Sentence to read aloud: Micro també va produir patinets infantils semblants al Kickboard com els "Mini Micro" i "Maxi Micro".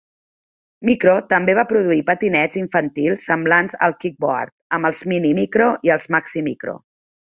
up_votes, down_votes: 1, 2